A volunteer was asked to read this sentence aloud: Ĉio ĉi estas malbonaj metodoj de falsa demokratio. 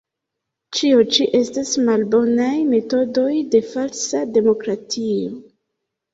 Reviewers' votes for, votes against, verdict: 3, 1, accepted